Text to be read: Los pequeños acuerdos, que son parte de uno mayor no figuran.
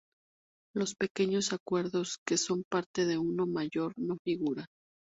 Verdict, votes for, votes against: accepted, 2, 0